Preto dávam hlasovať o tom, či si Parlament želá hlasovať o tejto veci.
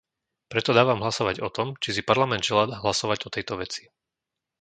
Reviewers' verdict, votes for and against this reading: rejected, 0, 2